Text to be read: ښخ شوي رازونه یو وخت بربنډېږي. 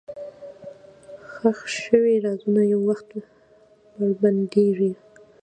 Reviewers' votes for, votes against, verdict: 1, 2, rejected